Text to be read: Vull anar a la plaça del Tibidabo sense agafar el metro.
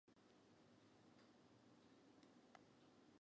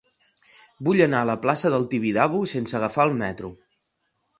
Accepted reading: second